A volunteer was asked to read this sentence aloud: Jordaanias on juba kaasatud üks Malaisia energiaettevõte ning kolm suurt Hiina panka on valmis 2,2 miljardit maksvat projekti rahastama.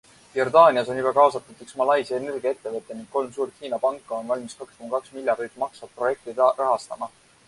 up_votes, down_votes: 0, 2